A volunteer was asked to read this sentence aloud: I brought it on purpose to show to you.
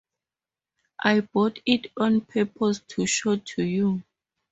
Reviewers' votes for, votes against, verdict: 0, 2, rejected